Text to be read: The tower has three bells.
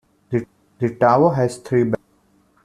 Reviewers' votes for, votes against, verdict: 1, 2, rejected